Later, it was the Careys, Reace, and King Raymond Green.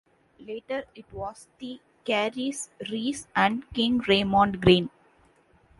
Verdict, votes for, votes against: rejected, 0, 2